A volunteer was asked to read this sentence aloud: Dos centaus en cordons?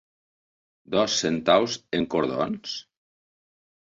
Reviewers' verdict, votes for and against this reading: accepted, 3, 0